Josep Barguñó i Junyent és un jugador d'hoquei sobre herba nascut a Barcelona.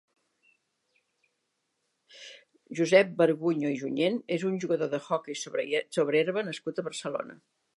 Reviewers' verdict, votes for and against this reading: rejected, 1, 3